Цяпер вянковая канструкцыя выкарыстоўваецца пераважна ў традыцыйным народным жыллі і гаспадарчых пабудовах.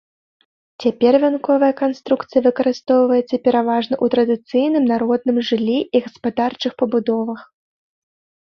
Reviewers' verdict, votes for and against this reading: accepted, 2, 0